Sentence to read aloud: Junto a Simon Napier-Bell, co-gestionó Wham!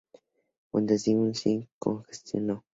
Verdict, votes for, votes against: rejected, 0, 4